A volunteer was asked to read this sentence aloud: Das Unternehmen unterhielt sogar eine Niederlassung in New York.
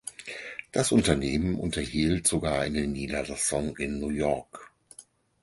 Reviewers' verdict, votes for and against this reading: accepted, 4, 0